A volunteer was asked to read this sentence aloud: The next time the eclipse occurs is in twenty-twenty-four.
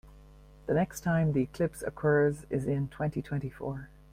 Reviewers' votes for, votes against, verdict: 1, 2, rejected